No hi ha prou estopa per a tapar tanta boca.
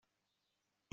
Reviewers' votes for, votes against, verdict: 0, 2, rejected